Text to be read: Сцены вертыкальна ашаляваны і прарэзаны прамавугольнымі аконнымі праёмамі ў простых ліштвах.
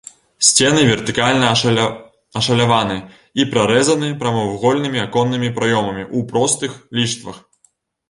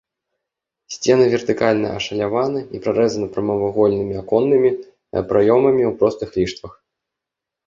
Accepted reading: second